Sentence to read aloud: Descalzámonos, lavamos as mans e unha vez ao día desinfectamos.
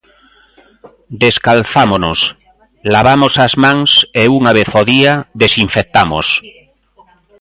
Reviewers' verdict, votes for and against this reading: rejected, 0, 2